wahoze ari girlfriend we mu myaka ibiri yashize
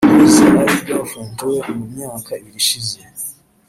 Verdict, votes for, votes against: rejected, 0, 2